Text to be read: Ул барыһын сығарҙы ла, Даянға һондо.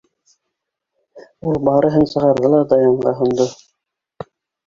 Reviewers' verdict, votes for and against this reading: accepted, 2, 1